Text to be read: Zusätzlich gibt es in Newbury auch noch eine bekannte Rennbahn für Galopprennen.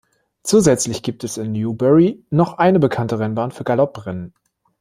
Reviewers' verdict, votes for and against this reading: rejected, 0, 2